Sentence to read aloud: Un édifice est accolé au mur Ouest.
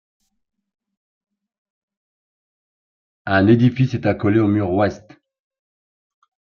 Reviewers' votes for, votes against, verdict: 1, 2, rejected